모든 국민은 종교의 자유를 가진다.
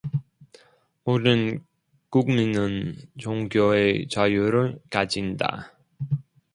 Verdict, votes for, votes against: rejected, 1, 2